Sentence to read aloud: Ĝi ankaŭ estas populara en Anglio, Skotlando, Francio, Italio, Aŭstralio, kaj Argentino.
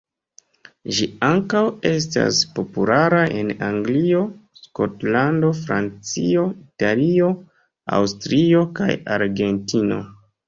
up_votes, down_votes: 1, 3